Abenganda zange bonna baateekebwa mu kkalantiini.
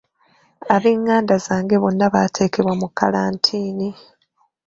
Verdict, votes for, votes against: rejected, 1, 2